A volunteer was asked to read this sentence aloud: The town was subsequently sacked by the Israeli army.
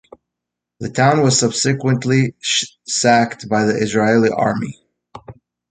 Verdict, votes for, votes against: rejected, 1, 2